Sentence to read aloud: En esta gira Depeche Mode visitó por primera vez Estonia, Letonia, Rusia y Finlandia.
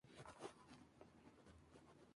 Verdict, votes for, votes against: accepted, 2, 0